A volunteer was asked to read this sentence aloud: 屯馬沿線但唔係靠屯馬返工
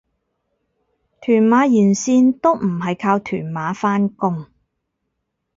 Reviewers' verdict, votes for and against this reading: rejected, 0, 4